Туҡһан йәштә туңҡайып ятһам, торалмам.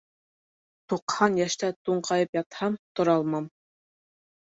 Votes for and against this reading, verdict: 3, 0, accepted